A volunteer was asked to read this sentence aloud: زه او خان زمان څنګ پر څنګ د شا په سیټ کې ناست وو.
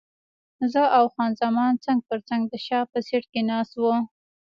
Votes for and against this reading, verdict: 2, 0, accepted